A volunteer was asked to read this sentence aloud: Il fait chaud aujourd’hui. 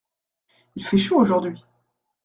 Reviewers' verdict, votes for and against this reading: rejected, 1, 2